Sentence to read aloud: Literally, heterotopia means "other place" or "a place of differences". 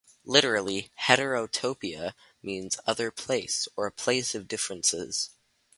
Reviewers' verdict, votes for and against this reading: accepted, 2, 0